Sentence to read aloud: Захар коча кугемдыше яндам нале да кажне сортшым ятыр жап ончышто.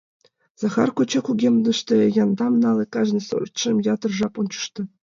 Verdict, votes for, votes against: rejected, 0, 2